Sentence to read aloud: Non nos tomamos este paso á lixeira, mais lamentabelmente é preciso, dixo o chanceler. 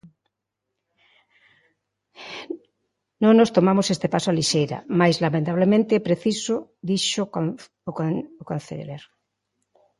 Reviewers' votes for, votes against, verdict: 0, 2, rejected